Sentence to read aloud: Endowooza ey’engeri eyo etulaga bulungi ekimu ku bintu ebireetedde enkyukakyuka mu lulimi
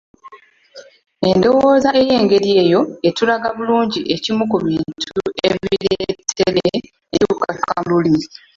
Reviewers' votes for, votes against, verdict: 0, 2, rejected